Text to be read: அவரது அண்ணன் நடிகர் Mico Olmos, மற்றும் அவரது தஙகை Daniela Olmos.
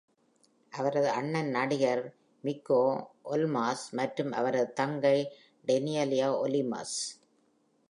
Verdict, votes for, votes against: rejected, 1, 2